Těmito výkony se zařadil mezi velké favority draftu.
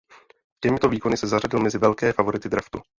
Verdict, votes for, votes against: rejected, 1, 2